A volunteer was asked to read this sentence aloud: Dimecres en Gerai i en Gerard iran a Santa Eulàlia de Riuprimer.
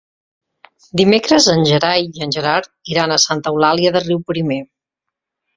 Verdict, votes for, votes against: accepted, 2, 0